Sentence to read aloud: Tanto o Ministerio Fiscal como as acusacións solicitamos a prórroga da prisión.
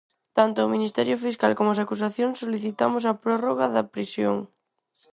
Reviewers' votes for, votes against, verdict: 4, 0, accepted